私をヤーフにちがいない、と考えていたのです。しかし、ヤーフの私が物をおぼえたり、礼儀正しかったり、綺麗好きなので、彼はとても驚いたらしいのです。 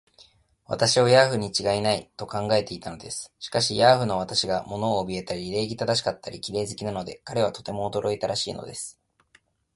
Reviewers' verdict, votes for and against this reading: accepted, 3, 1